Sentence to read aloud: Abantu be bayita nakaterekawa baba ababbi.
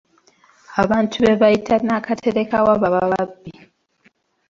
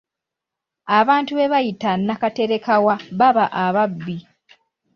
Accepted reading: second